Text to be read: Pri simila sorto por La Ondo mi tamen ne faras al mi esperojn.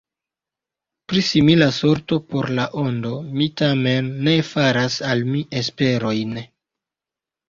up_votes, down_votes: 1, 2